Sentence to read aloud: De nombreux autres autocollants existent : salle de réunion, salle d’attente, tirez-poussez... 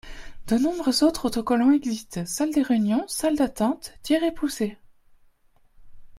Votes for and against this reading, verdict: 2, 1, accepted